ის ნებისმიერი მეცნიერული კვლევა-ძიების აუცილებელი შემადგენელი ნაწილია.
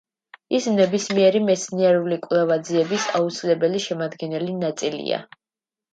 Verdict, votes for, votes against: accepted, 2, 0